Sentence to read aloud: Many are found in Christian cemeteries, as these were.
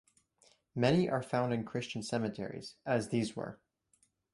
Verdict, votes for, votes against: accepted, 2, 1